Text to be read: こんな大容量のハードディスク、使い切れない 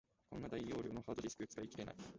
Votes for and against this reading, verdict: 1, 2, rejected